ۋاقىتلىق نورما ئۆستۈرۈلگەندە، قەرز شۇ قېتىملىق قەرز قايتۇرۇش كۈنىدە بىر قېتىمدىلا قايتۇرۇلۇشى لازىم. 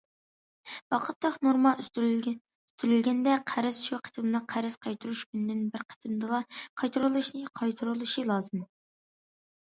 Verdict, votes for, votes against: rejected, 0, 2